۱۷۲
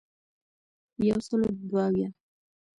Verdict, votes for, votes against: rejected, 0, 2